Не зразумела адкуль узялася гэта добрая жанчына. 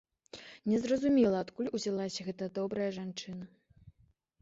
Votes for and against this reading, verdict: 2, 0, accepted